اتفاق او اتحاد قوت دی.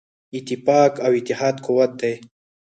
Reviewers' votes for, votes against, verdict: 2, 4, rejected